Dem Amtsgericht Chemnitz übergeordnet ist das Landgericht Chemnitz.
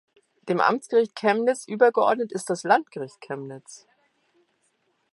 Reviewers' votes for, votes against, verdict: 2, 0, accepted